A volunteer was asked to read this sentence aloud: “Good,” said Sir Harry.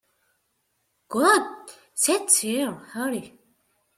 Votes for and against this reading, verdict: 0, 2, rejected